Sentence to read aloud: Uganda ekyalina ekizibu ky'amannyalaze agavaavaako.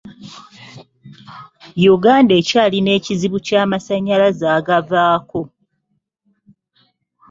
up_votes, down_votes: 0, 2